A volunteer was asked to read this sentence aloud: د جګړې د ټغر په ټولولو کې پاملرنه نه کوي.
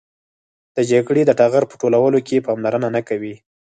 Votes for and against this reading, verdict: 2, 4, rejected